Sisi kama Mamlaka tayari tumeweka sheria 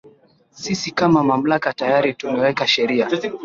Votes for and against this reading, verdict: 2, 0, accepted